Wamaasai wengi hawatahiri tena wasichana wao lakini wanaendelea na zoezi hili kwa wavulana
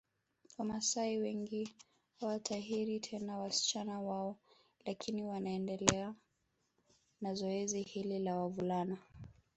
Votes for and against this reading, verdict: 1, 2, rejected